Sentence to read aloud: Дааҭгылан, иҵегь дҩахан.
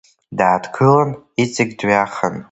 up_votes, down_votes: 2, 1